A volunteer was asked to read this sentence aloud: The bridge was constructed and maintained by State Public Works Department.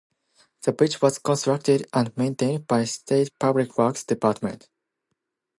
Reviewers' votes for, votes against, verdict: 2, 0, accepted